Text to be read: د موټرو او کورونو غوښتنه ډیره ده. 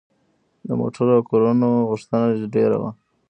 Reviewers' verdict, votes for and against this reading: accepted, 2, 0